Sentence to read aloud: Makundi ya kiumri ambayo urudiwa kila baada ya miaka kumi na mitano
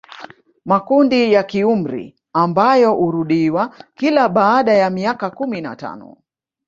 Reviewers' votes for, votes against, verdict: 0, 2, rejected